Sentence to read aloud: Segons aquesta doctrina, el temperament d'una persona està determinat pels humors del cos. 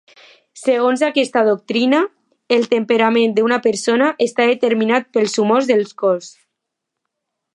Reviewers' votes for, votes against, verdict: 2, 0, accepted